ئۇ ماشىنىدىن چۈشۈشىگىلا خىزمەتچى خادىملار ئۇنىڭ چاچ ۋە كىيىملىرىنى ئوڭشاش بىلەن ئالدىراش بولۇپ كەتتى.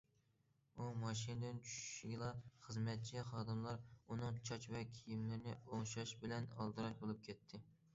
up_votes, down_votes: 2, 0